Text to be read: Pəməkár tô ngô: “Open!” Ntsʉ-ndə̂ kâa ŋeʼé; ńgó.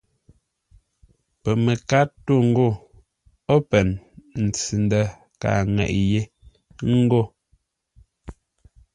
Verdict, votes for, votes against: accepted, 2, 0